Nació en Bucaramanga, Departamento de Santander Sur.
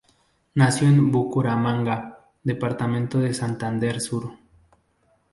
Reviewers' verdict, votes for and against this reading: rejected, 0, 2